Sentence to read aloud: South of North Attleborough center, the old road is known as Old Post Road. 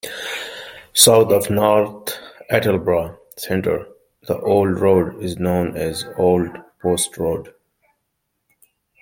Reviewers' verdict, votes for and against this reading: rejected, 1, 2